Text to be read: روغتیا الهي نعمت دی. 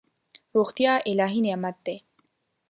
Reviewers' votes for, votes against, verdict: 2, 0, accepted